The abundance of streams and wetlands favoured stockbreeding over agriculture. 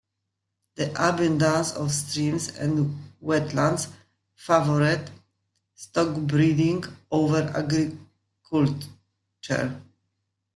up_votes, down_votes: 0, 2